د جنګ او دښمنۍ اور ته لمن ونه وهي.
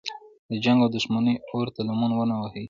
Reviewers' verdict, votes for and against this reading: accepted, 2, 0